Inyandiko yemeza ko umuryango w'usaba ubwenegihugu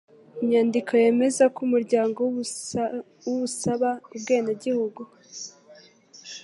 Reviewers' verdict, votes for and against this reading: rejected, 2, 3